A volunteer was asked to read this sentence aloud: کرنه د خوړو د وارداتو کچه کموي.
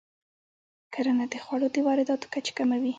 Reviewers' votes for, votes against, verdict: 2, 0, accepted